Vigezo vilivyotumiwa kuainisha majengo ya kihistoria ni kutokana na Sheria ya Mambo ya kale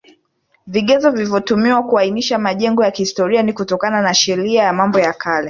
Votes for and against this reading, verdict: 2, 1, accepted